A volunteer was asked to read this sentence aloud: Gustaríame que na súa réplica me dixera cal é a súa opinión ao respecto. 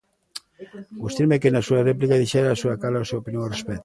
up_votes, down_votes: 0, 2